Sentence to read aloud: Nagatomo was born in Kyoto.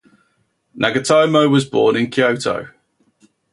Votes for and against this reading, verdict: 0, 2, rejected